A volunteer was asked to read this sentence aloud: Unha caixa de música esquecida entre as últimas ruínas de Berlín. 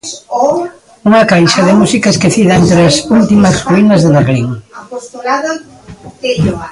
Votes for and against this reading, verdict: 0, 2, rejected